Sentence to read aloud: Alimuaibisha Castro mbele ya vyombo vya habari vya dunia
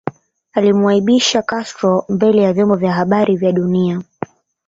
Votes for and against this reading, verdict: 2, 0, accepted